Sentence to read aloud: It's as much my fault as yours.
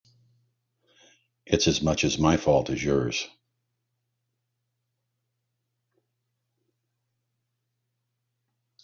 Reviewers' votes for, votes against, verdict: 0, 3, rejected